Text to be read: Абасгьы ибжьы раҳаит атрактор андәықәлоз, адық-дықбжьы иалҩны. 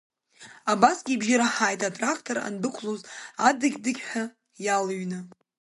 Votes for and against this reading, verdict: 0, 2, rejected